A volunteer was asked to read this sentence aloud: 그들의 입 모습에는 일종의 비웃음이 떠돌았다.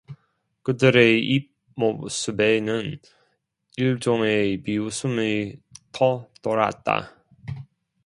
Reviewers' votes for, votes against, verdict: 0, 2, rejected